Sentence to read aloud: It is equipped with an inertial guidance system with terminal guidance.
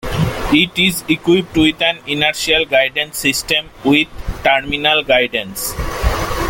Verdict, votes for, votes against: accepted, 2, 0